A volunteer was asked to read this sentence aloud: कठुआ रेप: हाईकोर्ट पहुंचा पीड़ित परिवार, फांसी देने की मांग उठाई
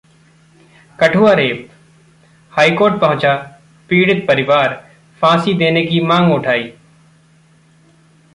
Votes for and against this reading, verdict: 2, 0, accepted